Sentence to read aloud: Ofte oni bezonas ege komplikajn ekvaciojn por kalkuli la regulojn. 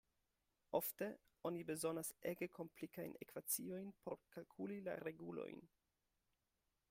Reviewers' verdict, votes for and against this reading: accepted, 2, 0